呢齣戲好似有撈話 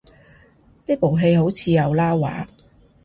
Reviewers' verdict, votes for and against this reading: rejected, 0, 2